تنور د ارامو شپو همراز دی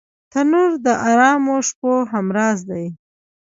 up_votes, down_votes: 1, 2